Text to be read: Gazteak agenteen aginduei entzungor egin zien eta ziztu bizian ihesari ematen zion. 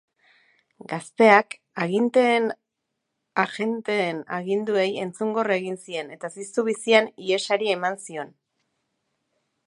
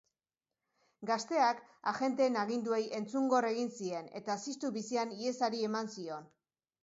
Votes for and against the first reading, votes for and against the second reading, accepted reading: 0, 2, 3, 0, second